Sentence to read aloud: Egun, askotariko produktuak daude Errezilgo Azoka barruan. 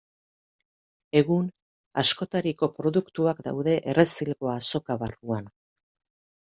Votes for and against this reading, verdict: 2, 0, accepted